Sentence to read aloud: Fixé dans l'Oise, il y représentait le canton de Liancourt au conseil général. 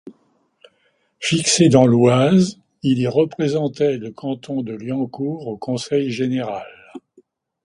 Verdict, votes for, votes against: accepted, 2, 0